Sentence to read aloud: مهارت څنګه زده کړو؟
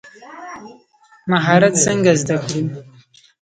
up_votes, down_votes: 0, 2